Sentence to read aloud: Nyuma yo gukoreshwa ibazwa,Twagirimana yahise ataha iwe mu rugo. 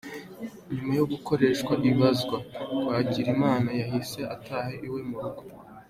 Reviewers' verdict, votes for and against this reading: accepted, 3, 1